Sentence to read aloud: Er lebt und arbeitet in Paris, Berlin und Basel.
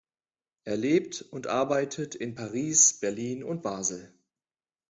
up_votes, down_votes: 2, 0